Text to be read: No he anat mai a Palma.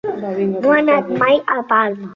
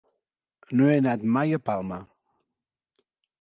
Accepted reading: second